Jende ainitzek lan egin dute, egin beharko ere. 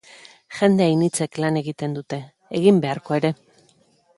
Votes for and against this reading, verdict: 2, 0, accepted